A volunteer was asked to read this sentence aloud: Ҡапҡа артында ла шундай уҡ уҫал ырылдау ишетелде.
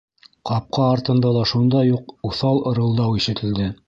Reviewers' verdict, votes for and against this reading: accepted, 3, 0